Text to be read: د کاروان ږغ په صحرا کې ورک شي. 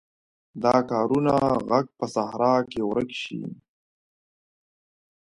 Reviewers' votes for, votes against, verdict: 0, 2, rejected